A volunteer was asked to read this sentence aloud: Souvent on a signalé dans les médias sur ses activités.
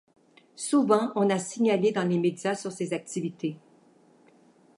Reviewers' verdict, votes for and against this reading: accepted, 2, 0